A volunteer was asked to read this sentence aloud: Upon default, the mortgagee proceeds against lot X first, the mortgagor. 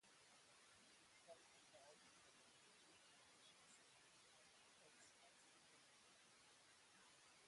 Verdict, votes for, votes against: rejected, 0, 2